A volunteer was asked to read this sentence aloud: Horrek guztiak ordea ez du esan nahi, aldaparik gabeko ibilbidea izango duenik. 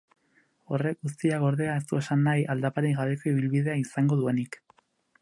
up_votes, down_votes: 4, 0